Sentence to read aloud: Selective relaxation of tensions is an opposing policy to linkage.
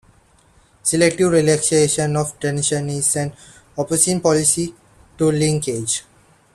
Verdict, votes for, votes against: rejected, 1, 2